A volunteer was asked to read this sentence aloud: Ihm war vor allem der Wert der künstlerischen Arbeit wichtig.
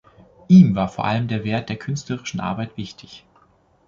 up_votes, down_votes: 2, 0